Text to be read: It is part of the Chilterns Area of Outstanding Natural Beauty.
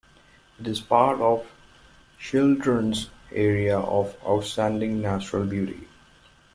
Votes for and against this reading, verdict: 0, 2, rejected